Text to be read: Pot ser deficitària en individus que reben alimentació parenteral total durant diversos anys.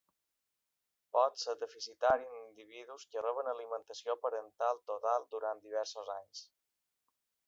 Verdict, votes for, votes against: rejected, 1, 2